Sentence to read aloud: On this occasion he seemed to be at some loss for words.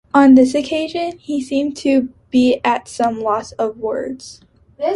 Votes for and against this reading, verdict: 0, 2, rejected